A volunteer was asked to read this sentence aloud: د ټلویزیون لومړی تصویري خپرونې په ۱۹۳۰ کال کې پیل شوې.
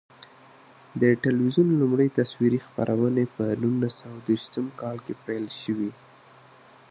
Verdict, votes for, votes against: rejected, 0, 2